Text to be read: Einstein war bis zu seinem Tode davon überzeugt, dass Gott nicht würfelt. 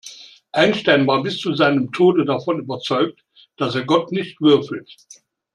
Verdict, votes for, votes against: rejected, 2, 3